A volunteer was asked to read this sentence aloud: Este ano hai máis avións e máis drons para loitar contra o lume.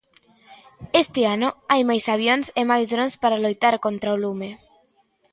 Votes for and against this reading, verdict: 2, 0, accepted